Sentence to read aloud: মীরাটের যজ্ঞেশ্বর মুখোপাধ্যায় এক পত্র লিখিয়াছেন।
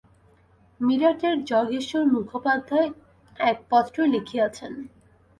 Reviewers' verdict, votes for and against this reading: rejected, 0, 2